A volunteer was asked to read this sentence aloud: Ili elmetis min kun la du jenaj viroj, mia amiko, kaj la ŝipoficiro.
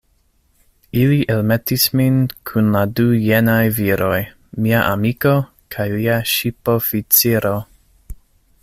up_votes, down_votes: 1, 2